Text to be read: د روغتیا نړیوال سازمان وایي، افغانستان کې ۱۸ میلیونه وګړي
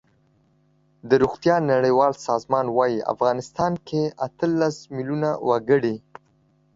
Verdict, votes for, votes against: rejected, 0, 2